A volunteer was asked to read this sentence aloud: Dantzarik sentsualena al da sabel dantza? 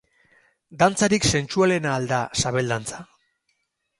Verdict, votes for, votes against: rejected, 0, 2